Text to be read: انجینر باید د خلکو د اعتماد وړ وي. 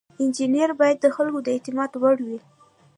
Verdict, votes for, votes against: accepted, 2, 0